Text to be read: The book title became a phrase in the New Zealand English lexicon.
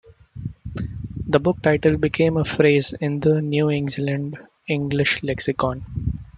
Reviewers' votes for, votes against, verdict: 1, 2, rejected